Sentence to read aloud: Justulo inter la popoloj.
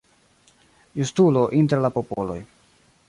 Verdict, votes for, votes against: accepted, 2, 1